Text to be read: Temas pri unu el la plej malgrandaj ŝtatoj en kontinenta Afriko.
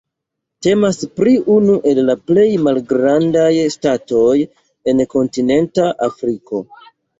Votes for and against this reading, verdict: 1, 2, rejected